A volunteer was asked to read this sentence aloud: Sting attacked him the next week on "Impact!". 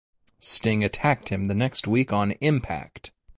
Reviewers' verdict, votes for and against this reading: accepted, 2, 0